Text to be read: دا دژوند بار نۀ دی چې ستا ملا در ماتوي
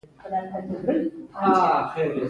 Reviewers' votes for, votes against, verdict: 2, 1, accepted